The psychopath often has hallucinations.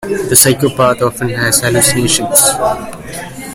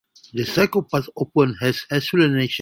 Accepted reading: first